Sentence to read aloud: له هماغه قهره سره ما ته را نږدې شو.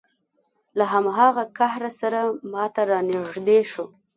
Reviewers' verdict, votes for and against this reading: accepted, 2, 0